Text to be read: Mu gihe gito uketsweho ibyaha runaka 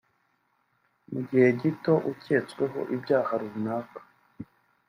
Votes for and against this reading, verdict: 2, 0, accepted